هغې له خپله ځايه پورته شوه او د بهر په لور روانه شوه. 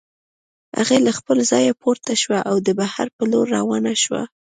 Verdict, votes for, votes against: accepted, 2, 1